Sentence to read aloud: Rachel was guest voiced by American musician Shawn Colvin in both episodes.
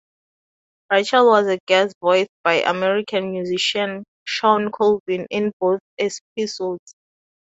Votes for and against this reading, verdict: 0, 2, rejected